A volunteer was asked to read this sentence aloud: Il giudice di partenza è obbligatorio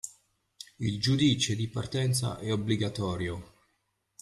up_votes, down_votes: 2, 1